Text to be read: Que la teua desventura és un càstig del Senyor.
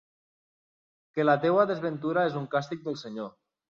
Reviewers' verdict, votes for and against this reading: accepted, 2, 0